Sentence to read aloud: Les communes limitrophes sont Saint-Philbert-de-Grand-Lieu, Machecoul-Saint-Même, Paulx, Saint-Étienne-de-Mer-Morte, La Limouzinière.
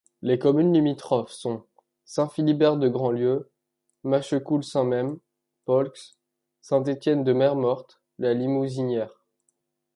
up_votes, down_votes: 1, 2